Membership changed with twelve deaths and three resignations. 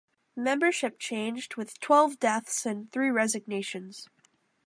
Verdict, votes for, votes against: accepted, 2, 0